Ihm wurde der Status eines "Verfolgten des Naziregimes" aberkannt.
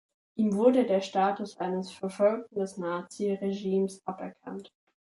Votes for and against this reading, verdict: 2, 0, accepted